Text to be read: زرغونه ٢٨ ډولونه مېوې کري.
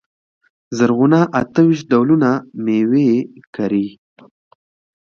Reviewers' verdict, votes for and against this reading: rejected, 0, 2